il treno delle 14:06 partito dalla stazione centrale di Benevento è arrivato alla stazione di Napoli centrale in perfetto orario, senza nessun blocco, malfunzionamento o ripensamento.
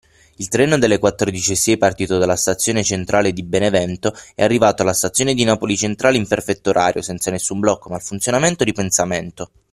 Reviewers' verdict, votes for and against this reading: rejected, 0, 2